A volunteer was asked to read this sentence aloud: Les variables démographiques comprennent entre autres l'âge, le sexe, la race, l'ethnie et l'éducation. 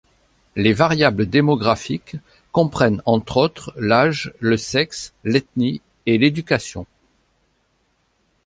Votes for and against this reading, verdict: 0, 2, rejected